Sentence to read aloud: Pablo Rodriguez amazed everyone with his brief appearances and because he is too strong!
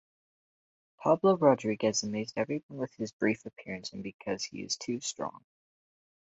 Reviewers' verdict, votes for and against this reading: rejected, 0, 4